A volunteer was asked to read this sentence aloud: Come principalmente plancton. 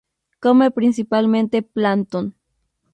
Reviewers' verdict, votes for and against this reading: rejected, 2, 2